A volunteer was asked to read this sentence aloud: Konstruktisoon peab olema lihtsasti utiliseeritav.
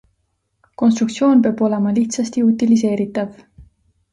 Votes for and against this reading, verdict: 2, 0, accepted